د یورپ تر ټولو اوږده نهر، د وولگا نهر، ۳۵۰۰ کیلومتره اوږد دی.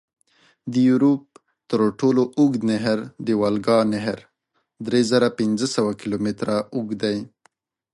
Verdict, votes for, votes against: rejected, 0, 2